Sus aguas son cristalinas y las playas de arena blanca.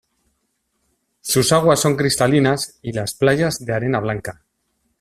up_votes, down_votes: 2, 0